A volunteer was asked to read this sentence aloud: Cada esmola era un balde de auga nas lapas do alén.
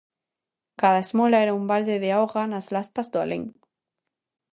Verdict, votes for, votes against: rejected, 0, 2